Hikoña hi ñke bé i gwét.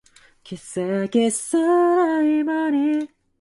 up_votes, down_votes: 0, 2